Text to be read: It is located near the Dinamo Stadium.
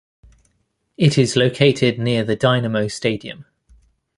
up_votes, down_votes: 2, 0